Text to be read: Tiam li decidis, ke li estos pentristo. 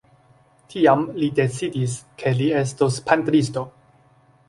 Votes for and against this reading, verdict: 1, 2, rejected